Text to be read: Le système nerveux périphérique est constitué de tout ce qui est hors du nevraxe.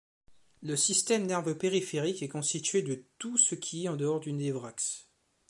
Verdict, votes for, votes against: rejected, 0, 3